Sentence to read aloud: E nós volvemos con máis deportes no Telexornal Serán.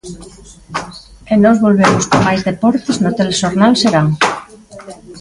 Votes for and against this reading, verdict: 1, 2, rejected